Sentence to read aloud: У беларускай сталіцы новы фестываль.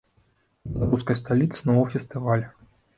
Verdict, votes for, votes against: rejected, 0, 2